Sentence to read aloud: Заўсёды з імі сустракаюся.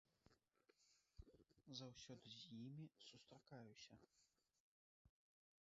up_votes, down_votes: 1, 2